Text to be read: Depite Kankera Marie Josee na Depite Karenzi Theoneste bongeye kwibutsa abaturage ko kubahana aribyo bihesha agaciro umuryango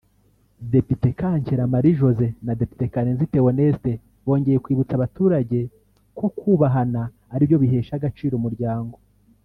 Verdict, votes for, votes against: accepted, 2, 1